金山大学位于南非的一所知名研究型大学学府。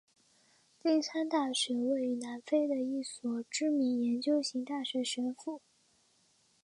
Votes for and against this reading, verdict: 2, 0, accepted